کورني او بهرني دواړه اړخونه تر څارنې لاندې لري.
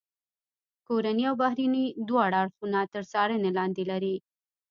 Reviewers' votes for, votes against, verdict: 1, 2, rejected